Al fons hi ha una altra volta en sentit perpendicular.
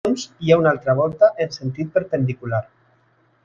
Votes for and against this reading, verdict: 0, 2, rejected